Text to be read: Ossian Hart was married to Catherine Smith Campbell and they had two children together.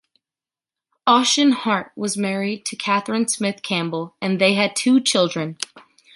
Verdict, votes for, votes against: rejected, 0, 2